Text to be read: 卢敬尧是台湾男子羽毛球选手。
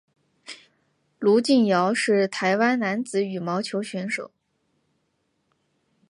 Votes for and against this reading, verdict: 7, 0, accepted